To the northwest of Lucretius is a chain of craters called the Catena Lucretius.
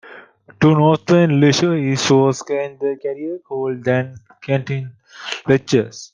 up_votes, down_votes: 0, 2